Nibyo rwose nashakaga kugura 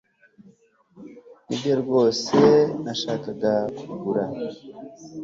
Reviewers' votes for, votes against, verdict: 2, 0, accepted